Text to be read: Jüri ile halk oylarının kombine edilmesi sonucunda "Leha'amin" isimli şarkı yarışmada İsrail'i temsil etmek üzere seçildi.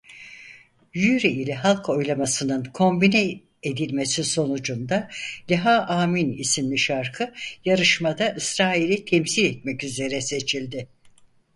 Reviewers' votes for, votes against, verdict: 2, 4, rejected